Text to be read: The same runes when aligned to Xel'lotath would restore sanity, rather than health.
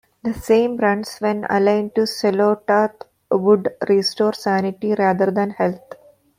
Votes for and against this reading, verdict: 0, 2, rejected